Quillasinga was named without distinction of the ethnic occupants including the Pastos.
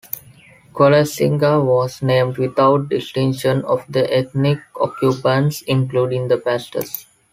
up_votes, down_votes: 2, 0